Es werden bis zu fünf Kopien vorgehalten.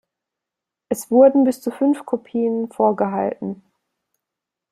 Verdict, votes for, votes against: rejected, 0, 2